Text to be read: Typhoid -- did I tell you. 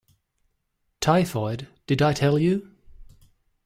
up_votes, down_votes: 2, 0